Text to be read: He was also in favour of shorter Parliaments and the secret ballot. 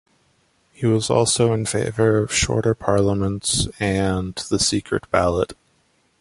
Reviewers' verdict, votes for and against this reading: accepted, 2, 0